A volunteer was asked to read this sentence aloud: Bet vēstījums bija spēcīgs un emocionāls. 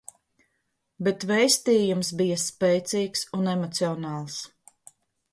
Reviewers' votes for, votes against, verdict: 2, 0, accepted